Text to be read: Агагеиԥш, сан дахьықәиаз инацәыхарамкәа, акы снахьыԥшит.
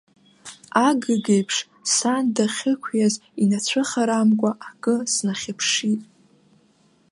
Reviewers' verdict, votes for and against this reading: rejected, 1, 2